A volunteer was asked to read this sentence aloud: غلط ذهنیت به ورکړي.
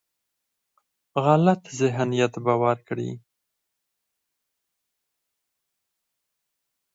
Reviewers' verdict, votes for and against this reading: rejected, 2, 4